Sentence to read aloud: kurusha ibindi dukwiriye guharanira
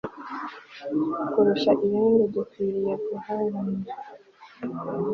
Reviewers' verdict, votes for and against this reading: rejected, 1, 2